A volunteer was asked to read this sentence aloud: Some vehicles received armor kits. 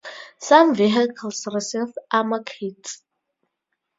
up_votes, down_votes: 4, 0